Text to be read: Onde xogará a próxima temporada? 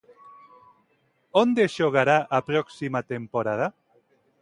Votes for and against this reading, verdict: 2, 0, accepted